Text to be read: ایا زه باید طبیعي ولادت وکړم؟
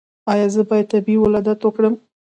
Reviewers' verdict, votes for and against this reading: accepted, 2, 0